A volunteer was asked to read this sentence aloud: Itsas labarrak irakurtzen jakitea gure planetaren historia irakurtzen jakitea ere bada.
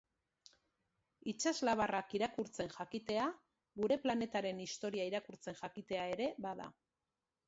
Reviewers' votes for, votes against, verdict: 2, 0, accepted